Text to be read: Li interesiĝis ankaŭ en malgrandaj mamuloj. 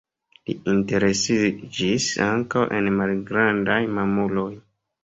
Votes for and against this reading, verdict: 2, 0, accepted